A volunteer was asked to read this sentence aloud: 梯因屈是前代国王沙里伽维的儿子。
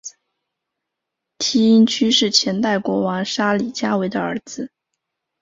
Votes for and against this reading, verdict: 3, 0, accepted